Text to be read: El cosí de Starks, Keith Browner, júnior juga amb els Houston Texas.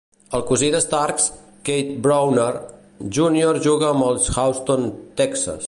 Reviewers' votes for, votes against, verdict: 0, 2, rejected